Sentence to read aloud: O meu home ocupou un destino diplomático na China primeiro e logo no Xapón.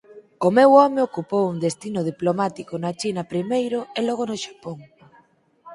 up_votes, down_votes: 4, 2